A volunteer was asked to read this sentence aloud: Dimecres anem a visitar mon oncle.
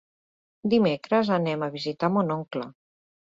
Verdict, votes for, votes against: accepted, 3, 0